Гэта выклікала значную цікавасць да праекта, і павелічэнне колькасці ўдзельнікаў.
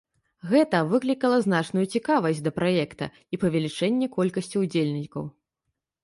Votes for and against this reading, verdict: 2, 1, accepted